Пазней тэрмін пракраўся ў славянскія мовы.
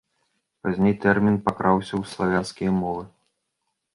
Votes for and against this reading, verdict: 0, 2, rejected